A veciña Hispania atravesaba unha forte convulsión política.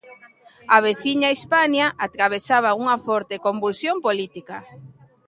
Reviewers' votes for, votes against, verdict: 2, 0, accepted